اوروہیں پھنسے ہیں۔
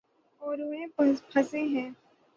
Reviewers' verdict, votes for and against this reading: rejected, 0, 3